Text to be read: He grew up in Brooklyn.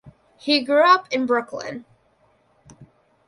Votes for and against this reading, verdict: 2, 0, accepted